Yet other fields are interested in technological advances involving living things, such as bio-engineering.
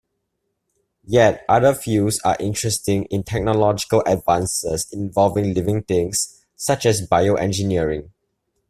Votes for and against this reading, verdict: 1, 2, rejected